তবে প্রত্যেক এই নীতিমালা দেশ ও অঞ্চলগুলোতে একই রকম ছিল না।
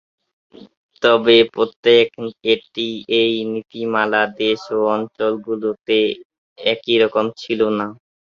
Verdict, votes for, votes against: rejected, 0, 3